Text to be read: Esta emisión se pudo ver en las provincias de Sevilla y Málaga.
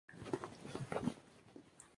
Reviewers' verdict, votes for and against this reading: rejected, 0, 2